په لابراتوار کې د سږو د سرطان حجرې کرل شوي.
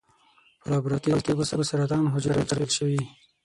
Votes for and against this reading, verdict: 3, 6, rejected